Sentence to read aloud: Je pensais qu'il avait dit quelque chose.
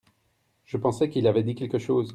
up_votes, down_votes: 2, 0